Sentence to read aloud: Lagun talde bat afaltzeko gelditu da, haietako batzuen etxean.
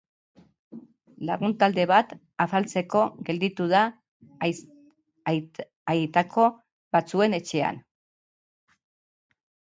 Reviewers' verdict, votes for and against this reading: rejected, 0, 3